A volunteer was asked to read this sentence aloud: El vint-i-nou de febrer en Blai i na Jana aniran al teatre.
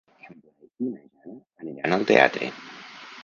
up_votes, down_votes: 0, 4